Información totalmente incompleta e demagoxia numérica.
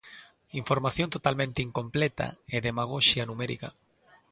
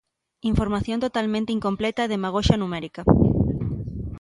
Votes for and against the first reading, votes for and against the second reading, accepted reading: 2, 0, 1, 2, first